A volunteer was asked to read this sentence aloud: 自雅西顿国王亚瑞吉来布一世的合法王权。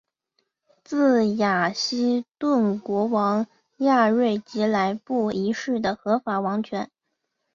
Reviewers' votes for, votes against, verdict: 2, 0, accepted